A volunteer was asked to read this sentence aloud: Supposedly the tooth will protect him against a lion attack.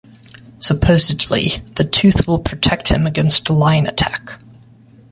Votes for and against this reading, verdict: 2, 0, accepted